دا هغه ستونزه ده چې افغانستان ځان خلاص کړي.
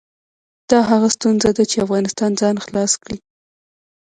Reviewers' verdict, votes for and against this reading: rejected, 1, 2